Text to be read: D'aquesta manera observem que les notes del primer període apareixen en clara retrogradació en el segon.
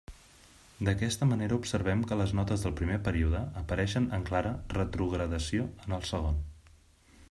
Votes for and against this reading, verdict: 3, 0, accepted